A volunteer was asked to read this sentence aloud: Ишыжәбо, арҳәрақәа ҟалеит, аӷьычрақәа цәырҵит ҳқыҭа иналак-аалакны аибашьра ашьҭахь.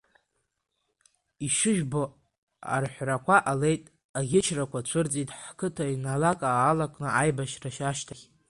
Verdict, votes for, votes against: rejected, 0, 2